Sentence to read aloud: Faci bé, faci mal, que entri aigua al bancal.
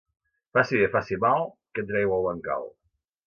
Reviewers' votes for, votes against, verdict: 0, 2, rejected